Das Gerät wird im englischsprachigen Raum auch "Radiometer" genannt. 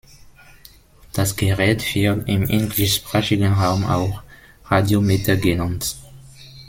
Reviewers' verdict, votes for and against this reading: accepted, 2, 1